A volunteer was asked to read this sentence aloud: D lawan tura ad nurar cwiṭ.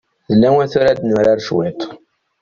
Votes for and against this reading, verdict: 0, 2, rejected